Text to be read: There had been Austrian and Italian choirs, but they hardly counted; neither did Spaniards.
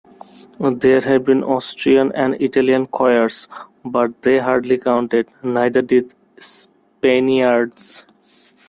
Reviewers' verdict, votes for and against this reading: rejected, 1, 2